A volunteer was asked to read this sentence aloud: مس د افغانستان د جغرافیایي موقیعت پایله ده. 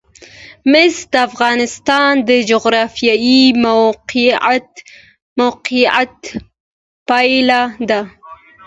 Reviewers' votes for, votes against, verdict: 2, 1, accepted